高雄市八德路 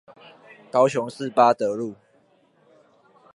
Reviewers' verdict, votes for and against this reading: rejected, 1, 2